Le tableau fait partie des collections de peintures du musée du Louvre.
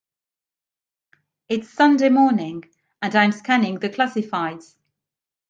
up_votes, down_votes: 0, 2